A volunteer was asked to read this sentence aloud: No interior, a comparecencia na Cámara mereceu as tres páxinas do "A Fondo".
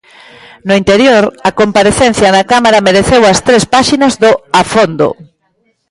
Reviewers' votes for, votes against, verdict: 2, 0, accepted